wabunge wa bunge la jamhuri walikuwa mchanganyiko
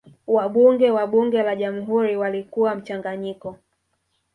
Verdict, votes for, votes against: accepted, 3, 1